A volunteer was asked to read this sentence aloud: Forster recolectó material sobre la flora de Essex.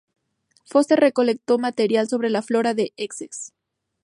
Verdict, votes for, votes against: accepted, 2, 0